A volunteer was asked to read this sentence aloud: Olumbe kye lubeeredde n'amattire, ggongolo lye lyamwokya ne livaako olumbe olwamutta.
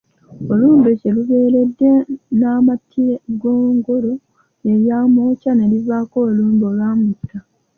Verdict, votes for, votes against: accepted, 3, 2